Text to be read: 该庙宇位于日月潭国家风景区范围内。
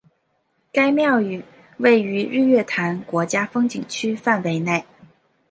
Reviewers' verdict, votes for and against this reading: accepted, 2, 0